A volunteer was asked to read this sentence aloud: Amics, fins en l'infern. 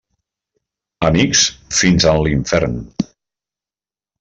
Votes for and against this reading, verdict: 2, 0, accepted